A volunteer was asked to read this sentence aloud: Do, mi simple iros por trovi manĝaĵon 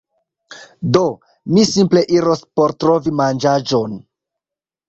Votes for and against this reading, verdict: 1, 2, rejected